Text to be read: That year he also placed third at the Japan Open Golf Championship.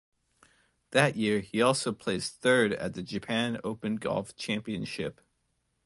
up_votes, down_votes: 2, 0